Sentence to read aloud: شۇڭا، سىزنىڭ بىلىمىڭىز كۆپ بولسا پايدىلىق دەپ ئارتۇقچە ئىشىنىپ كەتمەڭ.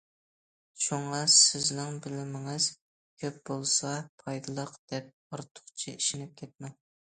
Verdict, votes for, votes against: accepted, 2, 0